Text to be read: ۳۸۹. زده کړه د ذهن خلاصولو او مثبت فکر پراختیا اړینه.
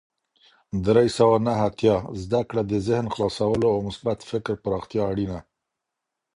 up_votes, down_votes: 0, 2